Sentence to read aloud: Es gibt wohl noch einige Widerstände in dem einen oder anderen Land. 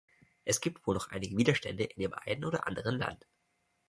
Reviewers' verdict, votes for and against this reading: rejected, 1, 2